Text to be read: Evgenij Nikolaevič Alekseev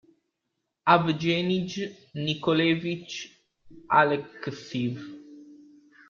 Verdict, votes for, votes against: rejected, 0, 2